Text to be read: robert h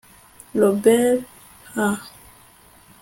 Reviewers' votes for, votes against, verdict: 1, 2, rejected